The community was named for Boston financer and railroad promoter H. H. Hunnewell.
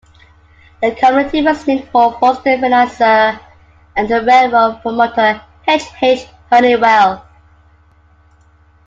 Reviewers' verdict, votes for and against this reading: accepted, 2, 1